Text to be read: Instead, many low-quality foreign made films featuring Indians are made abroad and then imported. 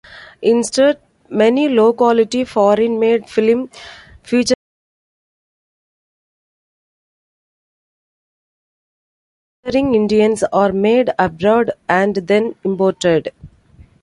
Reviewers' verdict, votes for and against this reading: rejected, 0, 2